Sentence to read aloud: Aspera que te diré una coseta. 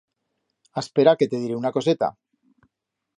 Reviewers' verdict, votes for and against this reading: accepted, 2, 0